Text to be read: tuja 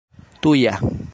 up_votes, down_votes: 2, 1